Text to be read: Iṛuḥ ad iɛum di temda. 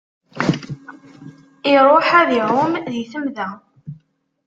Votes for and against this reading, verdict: 0, 2, rejected